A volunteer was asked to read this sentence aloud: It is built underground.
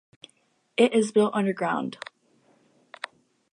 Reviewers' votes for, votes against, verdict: 2, 0, accepted